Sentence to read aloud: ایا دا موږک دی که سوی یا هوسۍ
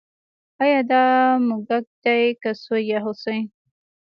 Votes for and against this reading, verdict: 2, 0, accepted